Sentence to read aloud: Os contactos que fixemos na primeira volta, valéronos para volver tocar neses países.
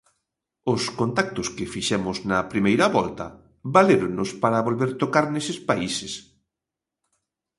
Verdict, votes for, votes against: accepted, 2, 1